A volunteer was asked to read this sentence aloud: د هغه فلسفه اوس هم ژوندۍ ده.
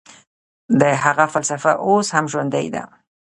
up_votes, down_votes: 1, 2